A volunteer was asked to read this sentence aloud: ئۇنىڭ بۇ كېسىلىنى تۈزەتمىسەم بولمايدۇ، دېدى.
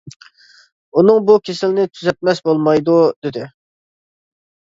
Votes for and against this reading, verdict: 0, 2, rejected